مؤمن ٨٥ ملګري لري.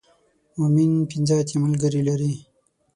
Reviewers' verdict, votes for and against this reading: rejected, 0, 2